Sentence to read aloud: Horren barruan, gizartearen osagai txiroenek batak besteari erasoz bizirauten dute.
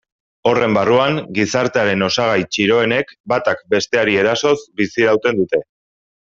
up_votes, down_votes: 2, 0